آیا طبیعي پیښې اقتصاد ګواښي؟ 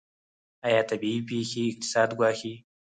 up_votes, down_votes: 2, 4